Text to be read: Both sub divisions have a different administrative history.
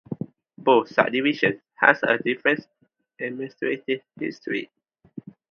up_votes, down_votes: 0, 2